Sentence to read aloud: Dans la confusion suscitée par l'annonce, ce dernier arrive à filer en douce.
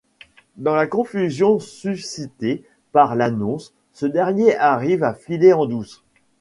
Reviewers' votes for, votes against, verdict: 1, 2, rejected